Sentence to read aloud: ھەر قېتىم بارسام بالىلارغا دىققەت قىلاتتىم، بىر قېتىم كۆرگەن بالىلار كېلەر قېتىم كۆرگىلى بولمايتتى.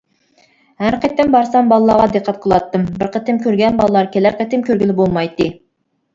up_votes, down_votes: 2, 0